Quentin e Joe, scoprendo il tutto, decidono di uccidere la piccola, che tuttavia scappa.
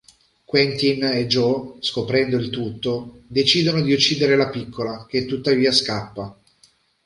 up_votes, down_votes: 2, 0